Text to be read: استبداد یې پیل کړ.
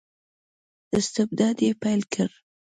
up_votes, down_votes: 2, 0